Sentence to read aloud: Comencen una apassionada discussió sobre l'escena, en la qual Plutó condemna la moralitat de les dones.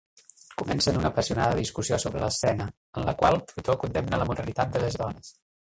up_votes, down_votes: 0, 2